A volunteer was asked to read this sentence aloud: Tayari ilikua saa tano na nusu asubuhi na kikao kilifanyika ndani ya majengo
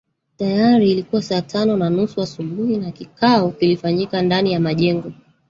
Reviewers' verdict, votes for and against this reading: rejected, 0, 2